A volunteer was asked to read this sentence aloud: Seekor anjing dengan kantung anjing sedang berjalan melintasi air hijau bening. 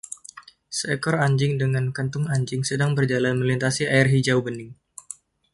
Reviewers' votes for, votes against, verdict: 2, 1, accepted